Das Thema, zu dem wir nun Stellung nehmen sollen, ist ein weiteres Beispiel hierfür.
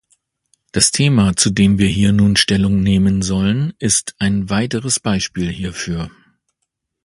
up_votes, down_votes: 2, 3